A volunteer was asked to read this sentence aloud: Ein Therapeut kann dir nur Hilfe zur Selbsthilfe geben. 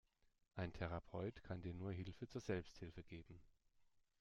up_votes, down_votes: 2, 0